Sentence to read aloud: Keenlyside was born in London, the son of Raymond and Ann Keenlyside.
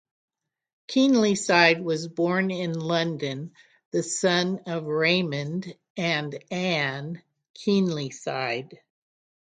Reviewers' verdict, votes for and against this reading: accepted, 9, 0